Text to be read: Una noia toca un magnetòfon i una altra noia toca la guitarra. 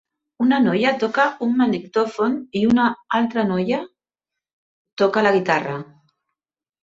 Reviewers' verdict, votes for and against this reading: accepted, 2, 0